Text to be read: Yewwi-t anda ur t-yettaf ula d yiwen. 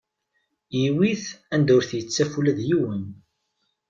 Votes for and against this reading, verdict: 2, 0, accepted